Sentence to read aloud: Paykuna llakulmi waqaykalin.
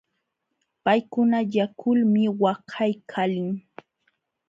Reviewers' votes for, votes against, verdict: 2, 0, accepted